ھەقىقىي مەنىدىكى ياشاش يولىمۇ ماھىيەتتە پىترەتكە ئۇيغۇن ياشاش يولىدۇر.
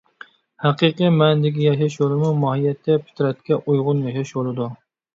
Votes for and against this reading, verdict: 0, 2, rejected